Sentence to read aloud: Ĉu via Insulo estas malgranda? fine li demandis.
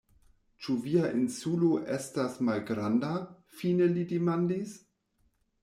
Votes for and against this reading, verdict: 2, 0, accepted